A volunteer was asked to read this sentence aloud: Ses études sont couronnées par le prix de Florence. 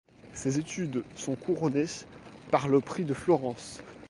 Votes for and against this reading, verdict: 1, 2, rejected